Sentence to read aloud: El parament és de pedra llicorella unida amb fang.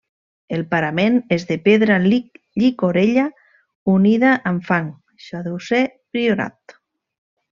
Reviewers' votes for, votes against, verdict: 0, 2, rejected